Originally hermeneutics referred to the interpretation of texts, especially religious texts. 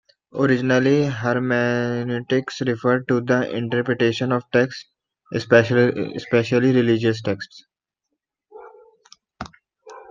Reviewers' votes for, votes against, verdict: 0, 2, rejected